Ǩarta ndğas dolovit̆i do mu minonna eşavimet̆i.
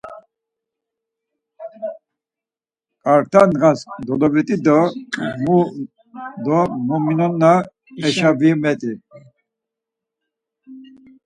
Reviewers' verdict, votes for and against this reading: rejected, 2, 4